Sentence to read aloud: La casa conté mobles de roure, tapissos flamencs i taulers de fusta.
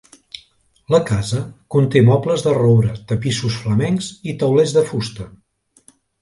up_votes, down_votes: 2, 0